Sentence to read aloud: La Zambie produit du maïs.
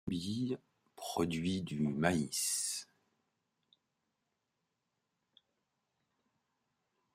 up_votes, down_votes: 0, 2